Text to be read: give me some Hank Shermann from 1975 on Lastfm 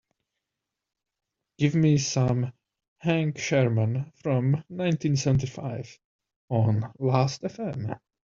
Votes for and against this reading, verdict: 0, 2, rejected